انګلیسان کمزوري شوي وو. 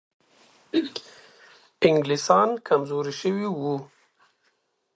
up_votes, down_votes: 2, 0